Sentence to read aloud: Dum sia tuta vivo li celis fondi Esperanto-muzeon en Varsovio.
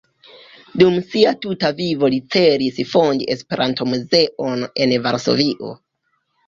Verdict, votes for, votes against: accepted, 2, 1